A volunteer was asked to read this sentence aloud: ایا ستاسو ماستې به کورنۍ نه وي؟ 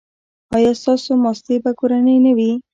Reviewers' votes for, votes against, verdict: 1, 2, rejected